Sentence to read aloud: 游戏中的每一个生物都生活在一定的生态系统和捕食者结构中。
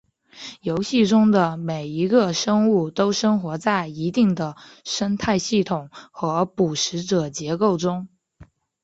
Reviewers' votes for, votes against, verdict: 2, 0, accepted